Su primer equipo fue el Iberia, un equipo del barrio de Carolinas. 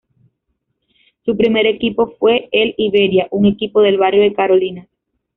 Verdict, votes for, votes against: accepted, 2, 1